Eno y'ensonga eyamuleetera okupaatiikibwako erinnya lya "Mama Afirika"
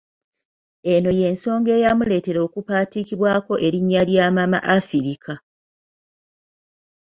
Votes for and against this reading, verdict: 2, 0, accepted